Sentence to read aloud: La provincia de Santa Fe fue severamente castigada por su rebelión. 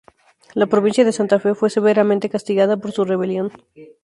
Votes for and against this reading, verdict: 2, 0, accepted